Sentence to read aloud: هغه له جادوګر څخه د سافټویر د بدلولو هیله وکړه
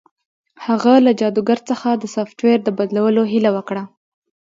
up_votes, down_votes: 2, 0